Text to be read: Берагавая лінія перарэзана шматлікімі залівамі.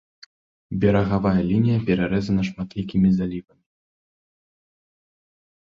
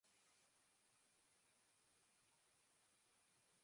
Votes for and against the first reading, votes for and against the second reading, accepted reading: 2, 0, 0, 2, first